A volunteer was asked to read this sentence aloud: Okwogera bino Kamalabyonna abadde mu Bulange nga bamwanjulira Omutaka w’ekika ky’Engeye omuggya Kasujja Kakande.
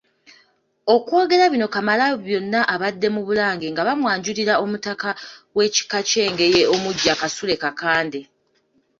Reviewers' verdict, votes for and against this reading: rejected, 1, 2